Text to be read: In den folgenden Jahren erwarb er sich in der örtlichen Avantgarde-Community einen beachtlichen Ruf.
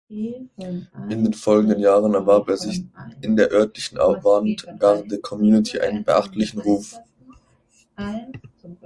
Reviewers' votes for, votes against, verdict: 0, 2, rejected